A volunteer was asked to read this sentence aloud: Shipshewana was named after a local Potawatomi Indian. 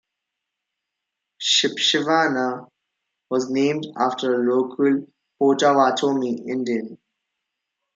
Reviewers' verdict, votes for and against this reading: rejected, 0, 2